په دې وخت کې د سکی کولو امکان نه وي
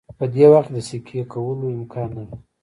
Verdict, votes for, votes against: accepted, 2, 0